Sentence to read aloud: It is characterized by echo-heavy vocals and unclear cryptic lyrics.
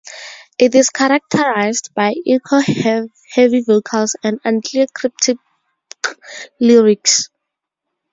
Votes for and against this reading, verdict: 2, 0, accepted